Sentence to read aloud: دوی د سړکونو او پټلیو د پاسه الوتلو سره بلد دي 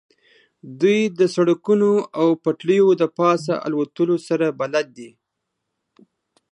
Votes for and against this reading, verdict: 2, 0, accepted